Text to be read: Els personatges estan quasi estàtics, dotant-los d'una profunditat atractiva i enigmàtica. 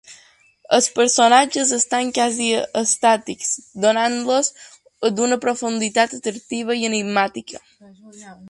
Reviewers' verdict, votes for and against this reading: rejected, 2, 3